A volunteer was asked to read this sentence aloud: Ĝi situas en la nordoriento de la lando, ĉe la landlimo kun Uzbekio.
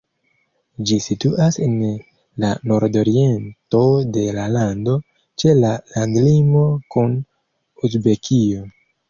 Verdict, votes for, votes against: accepted, 2, 1